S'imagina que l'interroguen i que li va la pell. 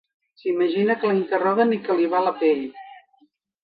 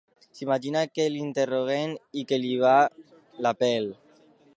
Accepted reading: first